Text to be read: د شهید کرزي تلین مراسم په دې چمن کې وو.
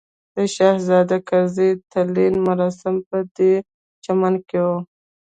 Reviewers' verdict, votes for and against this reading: rejected, 0, 2